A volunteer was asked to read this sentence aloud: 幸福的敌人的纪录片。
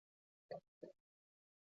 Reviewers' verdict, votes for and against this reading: rejected, 1, 2